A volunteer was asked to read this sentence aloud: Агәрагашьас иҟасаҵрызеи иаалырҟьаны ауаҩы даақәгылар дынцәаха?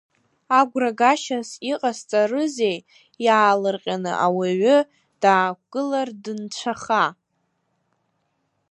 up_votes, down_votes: 2, 1